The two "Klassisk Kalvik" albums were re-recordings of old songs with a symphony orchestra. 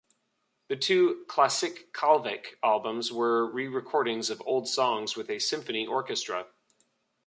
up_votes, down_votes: 1, 2